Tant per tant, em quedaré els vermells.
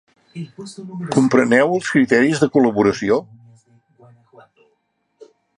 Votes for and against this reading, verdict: 0, 2, rejected